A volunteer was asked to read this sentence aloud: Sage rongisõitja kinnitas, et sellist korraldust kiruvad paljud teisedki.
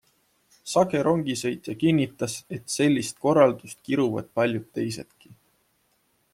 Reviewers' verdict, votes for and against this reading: accepted, 2, 0